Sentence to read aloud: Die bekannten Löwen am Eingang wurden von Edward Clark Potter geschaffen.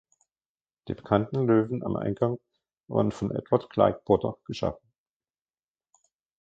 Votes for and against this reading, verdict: 1, 2, rejected